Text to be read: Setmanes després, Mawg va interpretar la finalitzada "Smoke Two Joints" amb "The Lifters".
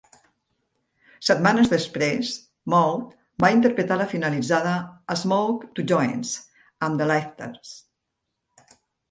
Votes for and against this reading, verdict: 3, 0, accepted